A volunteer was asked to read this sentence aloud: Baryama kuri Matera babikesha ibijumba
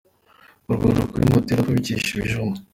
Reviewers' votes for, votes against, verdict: 2, 1, accepted